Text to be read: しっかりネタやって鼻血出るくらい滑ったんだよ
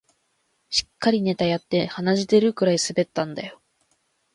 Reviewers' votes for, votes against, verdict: 2, 0, accepted